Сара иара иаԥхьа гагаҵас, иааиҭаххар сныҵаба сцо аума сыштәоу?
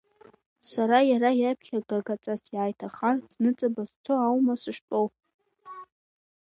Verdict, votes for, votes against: rejected, 1, 2